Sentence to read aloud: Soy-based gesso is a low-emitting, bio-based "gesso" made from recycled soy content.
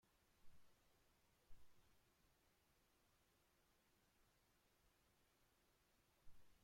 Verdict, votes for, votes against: rejected, 0, 2